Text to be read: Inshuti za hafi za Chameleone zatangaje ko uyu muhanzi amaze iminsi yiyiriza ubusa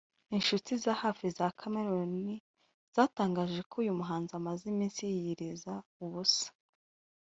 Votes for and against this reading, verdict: 1, 2, rejected